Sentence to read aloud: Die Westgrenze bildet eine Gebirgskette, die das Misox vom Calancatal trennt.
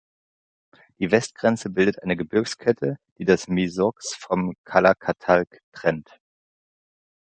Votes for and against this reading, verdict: 1, 2, rejected